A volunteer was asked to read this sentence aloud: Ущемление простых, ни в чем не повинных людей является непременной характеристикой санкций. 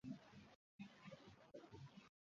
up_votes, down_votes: 0, 2